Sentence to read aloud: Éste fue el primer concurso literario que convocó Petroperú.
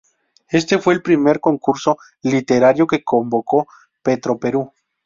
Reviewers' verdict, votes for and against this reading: rejected, 0, 2